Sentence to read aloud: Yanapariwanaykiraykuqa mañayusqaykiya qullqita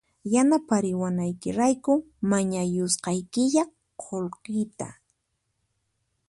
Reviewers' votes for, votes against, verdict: 0, 4, rejected